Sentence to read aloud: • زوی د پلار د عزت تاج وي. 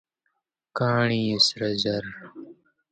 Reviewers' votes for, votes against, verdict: 1, 2, rejected